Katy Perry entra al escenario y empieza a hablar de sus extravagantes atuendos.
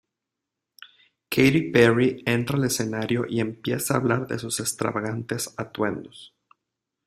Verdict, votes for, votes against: accepted, 2, 0